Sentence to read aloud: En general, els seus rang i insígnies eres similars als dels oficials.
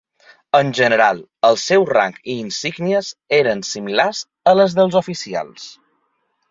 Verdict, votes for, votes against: rejected, 1, 2